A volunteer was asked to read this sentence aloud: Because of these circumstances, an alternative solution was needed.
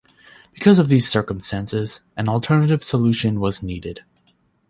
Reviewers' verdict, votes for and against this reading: accepted, 2, 0